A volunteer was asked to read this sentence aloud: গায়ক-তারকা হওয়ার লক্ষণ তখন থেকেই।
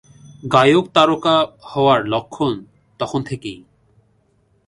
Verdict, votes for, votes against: accepted, 2, 0